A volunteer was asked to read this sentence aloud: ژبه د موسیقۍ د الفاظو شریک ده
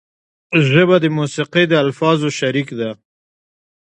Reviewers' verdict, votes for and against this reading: accepted, 2, 0